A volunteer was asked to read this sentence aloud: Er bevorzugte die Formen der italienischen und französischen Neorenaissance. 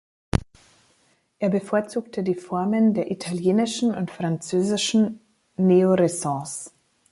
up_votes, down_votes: 1, 2